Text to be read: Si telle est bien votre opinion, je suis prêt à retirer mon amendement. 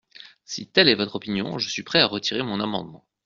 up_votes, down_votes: 1, 2